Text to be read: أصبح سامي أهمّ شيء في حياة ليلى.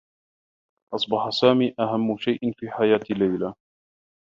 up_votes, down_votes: 1, 2